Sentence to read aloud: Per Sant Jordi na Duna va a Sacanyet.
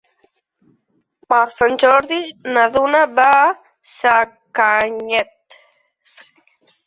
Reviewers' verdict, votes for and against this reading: rejected, 0, 2